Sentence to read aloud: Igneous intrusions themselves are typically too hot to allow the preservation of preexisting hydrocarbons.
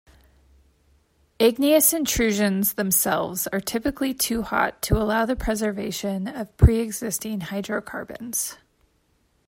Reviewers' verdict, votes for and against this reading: accepted, 2, 0